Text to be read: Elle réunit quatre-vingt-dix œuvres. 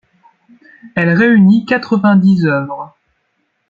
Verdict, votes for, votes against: accepted, 2, 0